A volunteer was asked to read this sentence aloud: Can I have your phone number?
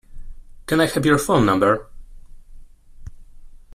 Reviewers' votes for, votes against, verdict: 2, 1, accepted